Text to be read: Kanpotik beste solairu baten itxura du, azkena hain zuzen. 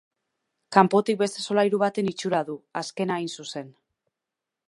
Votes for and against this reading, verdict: 2, 0, accepted